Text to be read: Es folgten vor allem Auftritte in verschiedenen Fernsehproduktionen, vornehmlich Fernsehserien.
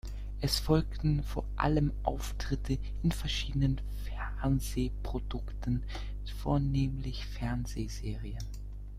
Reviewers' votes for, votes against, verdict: 1, 2, rejected